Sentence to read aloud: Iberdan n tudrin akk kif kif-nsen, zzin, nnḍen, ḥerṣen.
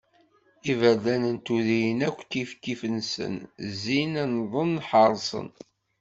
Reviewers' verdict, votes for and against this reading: accepted, 2, 0